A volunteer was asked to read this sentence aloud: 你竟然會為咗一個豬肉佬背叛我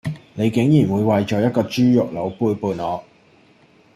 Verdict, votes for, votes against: rejected, 1, 2